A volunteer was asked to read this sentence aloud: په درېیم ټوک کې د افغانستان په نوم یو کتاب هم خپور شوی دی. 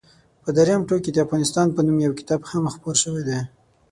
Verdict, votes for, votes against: accepted, 6, 0